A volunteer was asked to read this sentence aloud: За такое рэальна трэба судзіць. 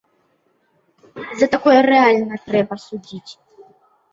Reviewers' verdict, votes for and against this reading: accepted, 2, 0